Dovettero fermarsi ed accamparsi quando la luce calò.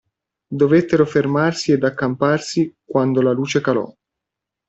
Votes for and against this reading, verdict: 2, 0, accepted